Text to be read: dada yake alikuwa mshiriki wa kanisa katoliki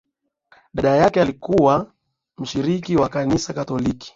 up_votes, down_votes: 2, 1